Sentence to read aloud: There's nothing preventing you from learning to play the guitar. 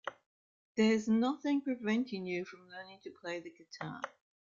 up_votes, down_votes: 0, 2